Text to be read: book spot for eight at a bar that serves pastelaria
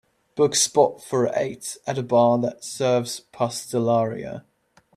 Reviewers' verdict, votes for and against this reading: accepted, 2, 0